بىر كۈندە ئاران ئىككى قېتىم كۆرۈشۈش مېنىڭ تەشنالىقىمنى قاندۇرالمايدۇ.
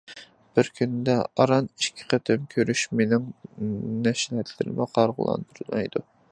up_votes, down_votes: 0, 2